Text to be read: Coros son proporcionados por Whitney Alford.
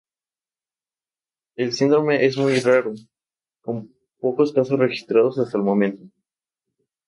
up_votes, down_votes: 0, 2